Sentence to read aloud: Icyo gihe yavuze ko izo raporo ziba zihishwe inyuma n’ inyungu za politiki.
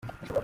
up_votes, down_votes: 0, 2